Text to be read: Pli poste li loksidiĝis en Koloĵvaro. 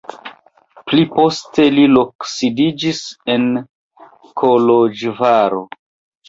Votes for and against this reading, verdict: 2, 0, accepted